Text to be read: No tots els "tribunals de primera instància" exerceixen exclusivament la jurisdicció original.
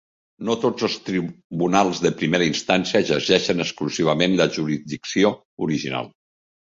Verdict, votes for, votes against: rejected, 0, 2